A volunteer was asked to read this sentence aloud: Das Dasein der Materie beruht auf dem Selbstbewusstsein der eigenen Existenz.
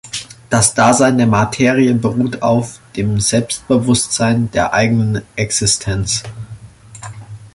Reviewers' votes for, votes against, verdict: 1, 2, rejected